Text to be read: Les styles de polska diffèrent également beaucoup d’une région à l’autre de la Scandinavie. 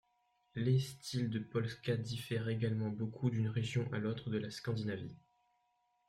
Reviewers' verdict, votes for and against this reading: rejected, 1, 2